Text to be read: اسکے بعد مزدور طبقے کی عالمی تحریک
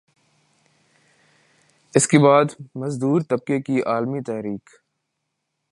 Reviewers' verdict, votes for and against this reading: accepted, 2, 1